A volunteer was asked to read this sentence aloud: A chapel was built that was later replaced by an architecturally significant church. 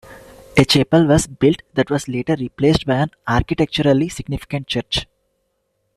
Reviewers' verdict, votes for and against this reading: rejected, 0, 2